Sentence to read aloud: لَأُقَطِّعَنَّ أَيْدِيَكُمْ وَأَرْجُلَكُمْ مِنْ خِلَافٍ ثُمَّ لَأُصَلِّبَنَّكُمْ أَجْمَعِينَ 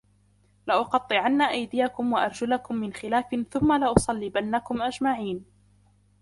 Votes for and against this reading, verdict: 2, 0, accepted